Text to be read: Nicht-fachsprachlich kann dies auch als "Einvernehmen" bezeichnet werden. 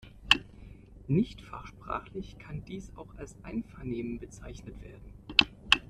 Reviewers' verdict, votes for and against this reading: accepted, 2, 0